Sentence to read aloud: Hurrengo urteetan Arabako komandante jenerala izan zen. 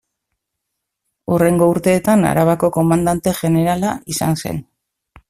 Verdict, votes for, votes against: accepted, 2, 0